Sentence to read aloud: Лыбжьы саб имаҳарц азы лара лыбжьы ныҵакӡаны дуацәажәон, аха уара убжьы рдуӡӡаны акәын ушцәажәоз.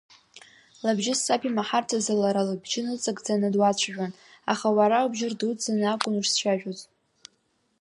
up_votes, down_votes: 2, 0